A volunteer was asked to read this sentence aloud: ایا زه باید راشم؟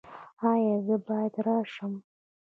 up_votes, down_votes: 2, 0